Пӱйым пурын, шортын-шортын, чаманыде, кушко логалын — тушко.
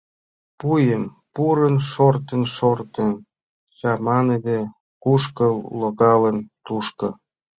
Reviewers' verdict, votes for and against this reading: rejected, 0, 2